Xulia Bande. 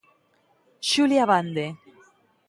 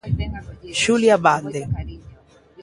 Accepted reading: first